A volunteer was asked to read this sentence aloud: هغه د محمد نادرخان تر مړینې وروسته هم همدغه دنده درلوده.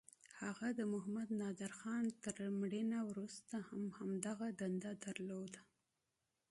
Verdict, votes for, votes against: rejected, 2, 3